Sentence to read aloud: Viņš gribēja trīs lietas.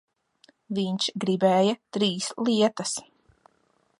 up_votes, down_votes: 0, 2